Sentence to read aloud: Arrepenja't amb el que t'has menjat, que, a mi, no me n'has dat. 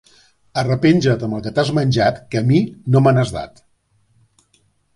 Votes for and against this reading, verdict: 4, 0, accepted